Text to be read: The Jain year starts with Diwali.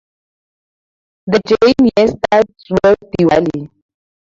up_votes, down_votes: 0, 2